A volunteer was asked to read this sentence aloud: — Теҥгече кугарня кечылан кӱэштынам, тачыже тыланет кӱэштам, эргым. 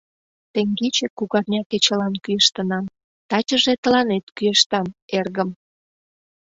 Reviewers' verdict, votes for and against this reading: accepted, 2, 0